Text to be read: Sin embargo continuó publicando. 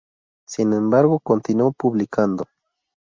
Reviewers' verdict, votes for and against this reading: accepted, 2, 0